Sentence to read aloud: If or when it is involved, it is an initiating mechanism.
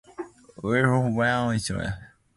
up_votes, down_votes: 0, 2